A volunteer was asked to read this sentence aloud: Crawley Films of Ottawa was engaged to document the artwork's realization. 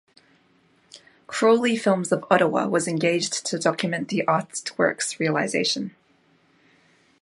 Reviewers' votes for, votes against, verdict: 1, 2, rejected